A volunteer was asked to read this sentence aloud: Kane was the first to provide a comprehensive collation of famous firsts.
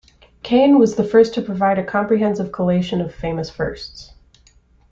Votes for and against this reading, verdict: 3, 0, accepted